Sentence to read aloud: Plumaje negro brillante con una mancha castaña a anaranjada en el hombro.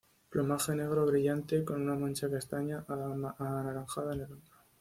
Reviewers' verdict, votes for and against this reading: accepted, 2, 0